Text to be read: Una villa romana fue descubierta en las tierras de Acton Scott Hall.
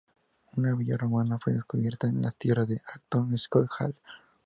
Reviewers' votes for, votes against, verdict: 2, 0, accepted